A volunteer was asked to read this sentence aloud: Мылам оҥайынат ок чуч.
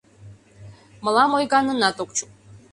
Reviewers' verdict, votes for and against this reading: rejected, 0, 2